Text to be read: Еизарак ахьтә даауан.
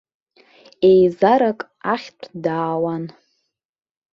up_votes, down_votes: 2, 0